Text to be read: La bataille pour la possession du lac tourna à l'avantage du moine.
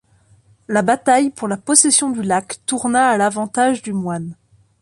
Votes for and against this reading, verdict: 2, 0, accepted